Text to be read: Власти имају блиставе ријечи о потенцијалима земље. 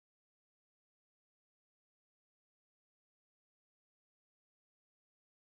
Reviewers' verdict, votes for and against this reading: rejected, 0, 2